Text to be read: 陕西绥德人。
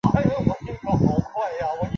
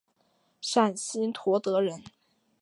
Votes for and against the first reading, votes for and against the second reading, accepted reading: 0, 2, 3, 2, second